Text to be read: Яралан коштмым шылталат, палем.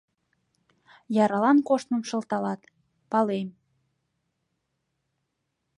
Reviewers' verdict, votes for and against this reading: accepted, 2, 0